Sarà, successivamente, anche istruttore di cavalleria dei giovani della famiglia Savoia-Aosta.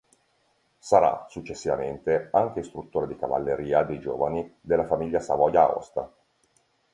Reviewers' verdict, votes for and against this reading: accepted, 2, 0